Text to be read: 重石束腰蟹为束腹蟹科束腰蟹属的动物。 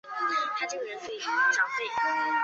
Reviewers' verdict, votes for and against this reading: rejected, 1, 3